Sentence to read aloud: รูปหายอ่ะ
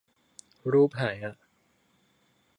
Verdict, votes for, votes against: accepted, 2, 1